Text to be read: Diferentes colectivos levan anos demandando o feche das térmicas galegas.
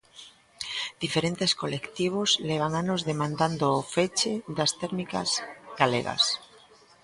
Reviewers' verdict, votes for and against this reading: rejected, 0, 2